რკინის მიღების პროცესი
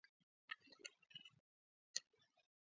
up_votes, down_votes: 2, 0